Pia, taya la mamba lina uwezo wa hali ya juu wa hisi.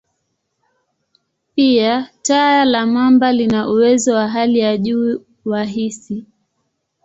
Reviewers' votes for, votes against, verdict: 2, 0, accepted